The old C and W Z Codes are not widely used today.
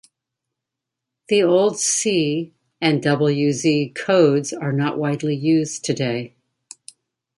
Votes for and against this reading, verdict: 2, 0, accepted